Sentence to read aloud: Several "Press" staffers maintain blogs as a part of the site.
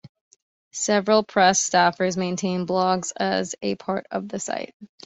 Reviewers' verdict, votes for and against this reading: accepted, 2, 0